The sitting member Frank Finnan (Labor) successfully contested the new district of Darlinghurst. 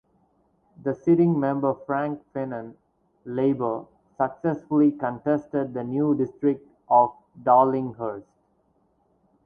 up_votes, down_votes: 4, 0